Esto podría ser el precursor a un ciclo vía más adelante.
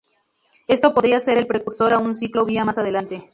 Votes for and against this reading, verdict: 2, 0, accepted